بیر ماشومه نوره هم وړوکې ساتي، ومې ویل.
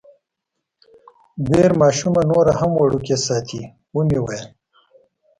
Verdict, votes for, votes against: accepted, 2, 0